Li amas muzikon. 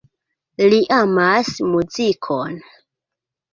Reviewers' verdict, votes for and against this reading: accepted, 2, 1